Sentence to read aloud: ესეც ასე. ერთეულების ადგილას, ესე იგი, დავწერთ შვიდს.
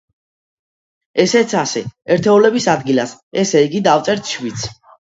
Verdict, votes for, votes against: accepted, 2, 0